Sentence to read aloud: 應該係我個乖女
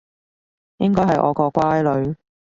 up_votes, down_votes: 2, 0